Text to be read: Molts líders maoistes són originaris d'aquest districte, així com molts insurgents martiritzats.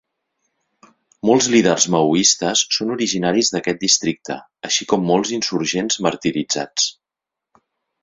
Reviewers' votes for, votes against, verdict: 3, 0, accepted